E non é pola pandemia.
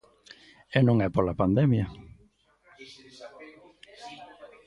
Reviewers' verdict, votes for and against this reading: rejected, 0, 2